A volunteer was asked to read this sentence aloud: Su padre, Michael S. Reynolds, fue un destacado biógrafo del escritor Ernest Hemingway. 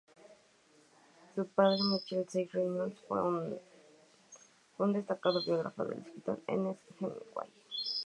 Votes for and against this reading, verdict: 0, 2, rejected